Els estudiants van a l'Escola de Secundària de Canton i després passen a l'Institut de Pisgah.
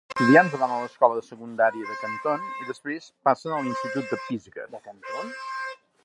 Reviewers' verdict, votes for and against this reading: rejected, 0, 2